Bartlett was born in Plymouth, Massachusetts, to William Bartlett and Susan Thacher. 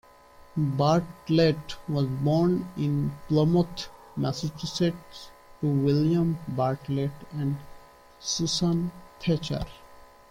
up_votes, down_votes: 0, 2